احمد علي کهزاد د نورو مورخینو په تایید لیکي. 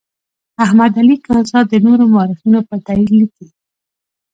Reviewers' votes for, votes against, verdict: 2, 0, accepted